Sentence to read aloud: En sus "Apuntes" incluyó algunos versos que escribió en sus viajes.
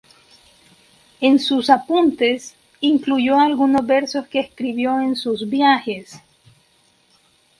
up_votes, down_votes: 2, 2